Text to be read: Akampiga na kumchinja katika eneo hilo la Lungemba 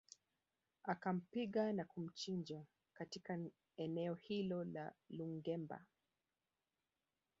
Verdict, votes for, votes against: accepted, 2, 1